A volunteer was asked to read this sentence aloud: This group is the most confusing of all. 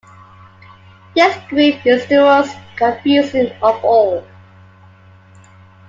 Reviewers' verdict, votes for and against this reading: accepted, 2, 0